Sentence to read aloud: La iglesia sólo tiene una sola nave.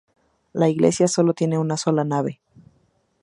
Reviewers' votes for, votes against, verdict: 2, 0, accepted